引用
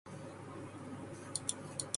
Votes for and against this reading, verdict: 0, 2, rejected